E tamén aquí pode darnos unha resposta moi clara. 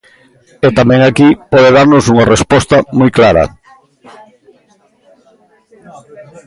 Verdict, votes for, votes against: rejected, 1, 2